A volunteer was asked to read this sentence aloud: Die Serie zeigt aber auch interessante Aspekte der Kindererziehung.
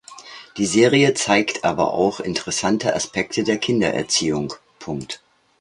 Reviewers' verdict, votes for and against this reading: rejected, 1, 2